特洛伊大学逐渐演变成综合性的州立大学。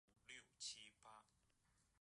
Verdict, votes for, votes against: rejected, 1, 3